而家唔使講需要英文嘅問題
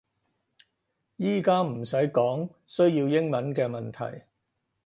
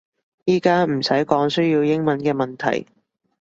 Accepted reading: second